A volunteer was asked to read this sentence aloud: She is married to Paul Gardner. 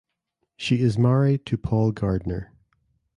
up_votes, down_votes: 2, 0